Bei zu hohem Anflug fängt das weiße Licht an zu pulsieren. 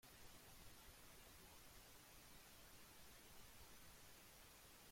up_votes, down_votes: 0, 2